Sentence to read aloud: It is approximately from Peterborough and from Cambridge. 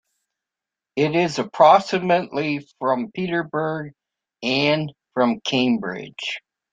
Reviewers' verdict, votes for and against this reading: rejected, 0, 3